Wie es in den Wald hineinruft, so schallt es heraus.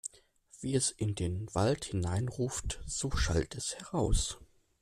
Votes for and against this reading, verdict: 2, 0, accepted